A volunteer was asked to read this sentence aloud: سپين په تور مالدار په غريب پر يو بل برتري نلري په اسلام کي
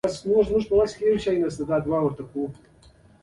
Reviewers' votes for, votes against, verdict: 1, 2, rejected